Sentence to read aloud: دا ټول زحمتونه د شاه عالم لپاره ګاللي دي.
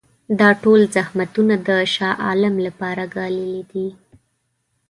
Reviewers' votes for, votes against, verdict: 2, 0, accepted